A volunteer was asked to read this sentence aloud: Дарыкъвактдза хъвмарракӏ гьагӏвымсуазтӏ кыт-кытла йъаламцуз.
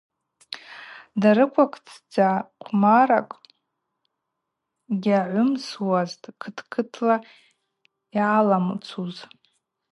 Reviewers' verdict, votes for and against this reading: rejected, 0, 4